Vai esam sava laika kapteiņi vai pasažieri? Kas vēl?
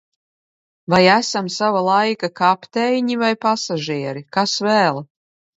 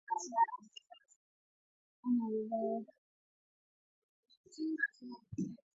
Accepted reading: first